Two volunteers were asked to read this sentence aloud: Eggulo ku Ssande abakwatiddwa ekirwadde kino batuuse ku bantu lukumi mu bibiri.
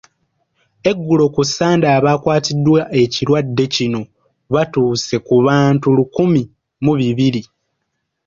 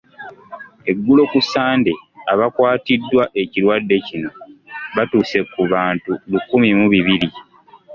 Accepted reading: second